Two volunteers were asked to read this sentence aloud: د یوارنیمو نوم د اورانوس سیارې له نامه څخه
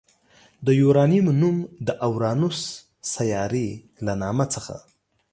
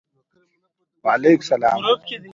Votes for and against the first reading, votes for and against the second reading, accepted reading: 2, 0, 1, 2, first